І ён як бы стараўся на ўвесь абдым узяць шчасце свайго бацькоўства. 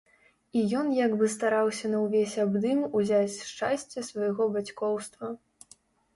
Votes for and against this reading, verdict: 2, 0, accepted